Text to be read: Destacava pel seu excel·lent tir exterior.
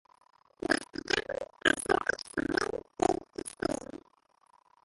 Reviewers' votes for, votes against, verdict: 0, 3, rejected